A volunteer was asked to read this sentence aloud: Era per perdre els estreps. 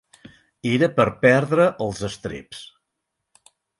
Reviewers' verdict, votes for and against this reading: accepted, 4, 0